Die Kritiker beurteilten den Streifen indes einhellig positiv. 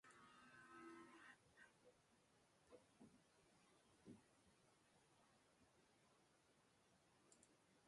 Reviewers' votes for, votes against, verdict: 0, 2, rejected